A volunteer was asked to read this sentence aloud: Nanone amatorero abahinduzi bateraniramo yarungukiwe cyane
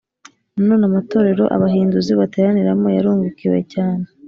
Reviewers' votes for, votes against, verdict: 3, 0, accepted